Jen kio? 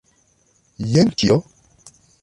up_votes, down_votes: 2, 0